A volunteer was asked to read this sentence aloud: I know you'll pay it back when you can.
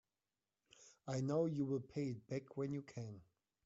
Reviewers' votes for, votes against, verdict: 0, 2, rejected